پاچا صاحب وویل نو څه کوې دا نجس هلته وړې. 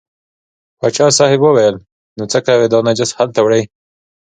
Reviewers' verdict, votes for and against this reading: accepted, 2, 0